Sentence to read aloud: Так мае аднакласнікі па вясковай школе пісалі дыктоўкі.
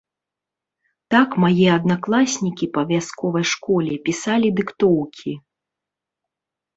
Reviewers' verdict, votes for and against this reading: accepted, 2, 1